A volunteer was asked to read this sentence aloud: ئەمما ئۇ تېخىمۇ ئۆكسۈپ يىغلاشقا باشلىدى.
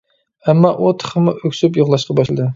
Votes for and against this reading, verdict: 2, 0, accepted